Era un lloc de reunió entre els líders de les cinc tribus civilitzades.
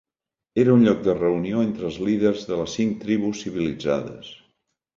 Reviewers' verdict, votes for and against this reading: accepted, 4, 1